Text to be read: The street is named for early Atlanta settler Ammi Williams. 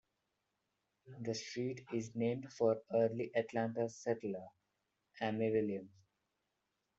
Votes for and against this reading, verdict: 2, 1, accepted